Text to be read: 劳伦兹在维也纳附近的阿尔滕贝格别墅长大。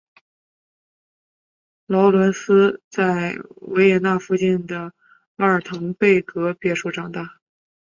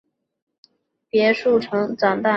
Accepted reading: first